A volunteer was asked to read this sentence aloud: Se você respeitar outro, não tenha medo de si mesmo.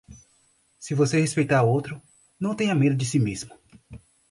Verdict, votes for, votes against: accepted, 4, 0